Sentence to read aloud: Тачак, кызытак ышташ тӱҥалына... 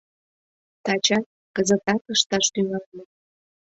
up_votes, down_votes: 1, 2